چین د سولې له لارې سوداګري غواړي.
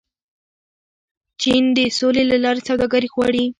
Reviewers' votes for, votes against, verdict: 2, 0, accepted